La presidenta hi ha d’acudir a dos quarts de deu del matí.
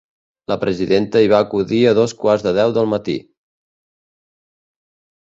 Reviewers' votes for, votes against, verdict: 0, 2, rejected